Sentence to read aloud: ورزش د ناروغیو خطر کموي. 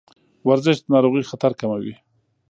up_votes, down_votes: 1, 2